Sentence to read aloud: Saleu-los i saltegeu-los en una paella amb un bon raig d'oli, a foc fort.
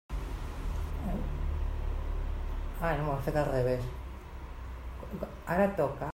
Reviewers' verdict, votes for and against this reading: rejected, 0, 2